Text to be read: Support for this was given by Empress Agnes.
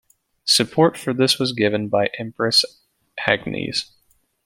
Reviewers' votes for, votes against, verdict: 2, 0, accepted